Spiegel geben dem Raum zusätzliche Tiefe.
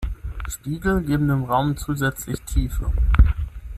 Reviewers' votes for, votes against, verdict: 0, 6, rejected